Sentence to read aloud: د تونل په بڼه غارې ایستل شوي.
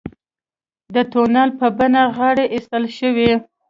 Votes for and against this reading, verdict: 3, 0, accepted